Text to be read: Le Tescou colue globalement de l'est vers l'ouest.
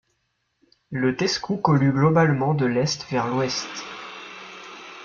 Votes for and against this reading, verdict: 2, 0, accepted